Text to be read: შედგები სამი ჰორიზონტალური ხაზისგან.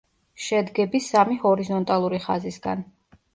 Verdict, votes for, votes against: rejected, 1, 2